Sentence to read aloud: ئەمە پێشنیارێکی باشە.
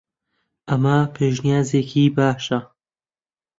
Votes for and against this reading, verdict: 4, 7, rejected